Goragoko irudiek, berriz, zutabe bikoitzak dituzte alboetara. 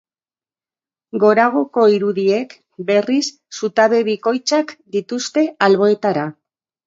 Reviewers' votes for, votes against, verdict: 0, 2, rejected